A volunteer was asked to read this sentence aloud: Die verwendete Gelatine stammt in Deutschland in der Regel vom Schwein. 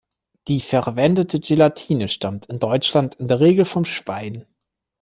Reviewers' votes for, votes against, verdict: 2, 0, accepted